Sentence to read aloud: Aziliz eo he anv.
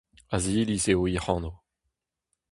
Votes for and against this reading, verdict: 4, 0, accepted